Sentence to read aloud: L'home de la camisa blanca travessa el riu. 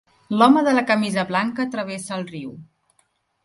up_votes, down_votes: 3, 0